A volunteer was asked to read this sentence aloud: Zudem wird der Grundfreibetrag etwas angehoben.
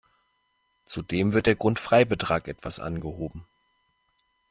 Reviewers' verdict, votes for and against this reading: accepted, 2, 0